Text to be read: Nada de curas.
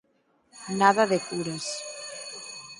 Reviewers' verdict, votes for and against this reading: rejected, 2, 4